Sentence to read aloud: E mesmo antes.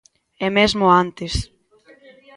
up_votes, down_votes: 1, 2